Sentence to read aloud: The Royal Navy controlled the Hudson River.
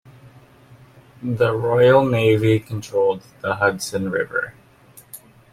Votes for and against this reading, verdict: 2, 0, accepted